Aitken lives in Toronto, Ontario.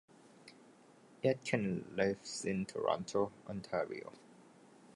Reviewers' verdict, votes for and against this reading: accepted, 2, 1